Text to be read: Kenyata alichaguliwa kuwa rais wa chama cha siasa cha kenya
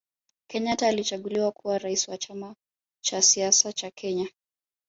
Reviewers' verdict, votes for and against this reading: accepted, 2, 1